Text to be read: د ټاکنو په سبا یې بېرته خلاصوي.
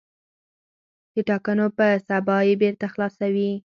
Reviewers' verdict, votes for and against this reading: accepted, 4, 0